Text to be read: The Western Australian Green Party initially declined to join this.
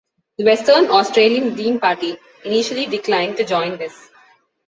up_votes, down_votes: 2, 0